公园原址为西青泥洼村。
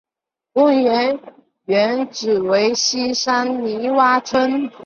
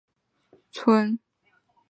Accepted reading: first